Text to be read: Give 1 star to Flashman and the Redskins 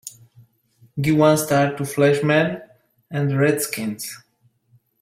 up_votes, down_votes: 0, 2